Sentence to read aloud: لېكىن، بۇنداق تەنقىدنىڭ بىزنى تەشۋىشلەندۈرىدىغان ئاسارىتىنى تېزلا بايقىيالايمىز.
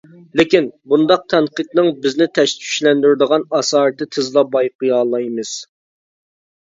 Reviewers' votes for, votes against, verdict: 0, 2, rejected